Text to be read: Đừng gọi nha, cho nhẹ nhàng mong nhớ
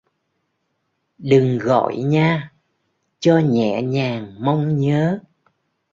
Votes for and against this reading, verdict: 2, 0, accepted